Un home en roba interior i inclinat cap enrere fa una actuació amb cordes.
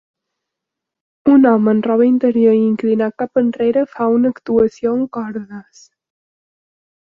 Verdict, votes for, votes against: accepted, 2, 0